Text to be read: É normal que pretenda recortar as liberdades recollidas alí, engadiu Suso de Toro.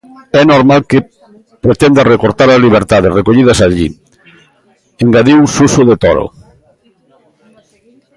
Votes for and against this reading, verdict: 0, 2, rejected